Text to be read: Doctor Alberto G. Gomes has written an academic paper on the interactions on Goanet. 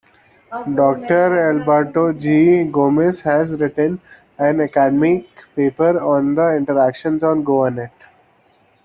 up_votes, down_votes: 0, 2